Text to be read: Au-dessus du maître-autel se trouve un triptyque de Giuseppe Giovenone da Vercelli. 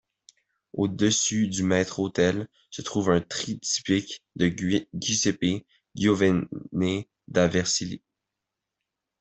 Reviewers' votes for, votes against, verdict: 0, 2, rejected